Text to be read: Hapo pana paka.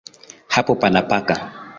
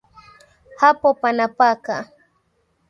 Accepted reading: first